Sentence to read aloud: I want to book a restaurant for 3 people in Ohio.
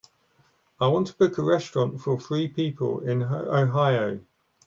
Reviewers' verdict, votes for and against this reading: rejected, 0, 2